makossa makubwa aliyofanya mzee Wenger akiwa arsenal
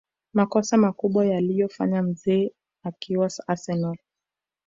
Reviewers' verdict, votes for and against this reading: rejected, 1, 2